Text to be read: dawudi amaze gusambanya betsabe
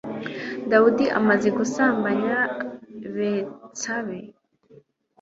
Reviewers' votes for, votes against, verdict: 2, 0, accepted